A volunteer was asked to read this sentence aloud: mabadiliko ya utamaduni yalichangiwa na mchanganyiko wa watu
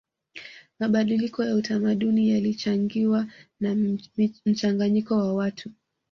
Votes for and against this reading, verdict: 2, 0, accepted